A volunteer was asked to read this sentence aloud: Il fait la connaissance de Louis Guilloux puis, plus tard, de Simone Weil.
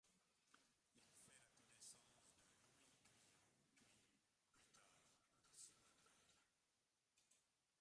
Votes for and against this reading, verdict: 0, 2, rejected